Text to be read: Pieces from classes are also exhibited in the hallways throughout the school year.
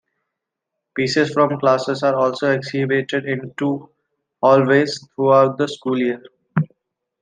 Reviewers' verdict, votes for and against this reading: rejected, 0, 2